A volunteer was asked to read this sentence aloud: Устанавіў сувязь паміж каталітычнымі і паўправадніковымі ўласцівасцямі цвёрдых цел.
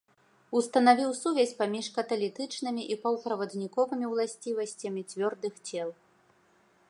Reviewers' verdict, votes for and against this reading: accepted, 2, 0